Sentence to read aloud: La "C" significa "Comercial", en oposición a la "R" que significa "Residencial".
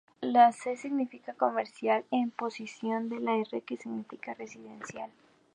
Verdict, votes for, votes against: rejected, 0, 2